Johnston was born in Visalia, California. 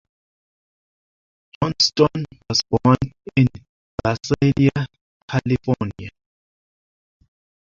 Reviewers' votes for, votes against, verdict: 1, 2, rejected